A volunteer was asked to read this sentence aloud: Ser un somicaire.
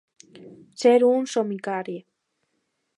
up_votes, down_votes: 1, 2